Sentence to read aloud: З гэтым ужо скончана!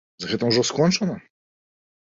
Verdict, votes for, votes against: accepted, 2, 0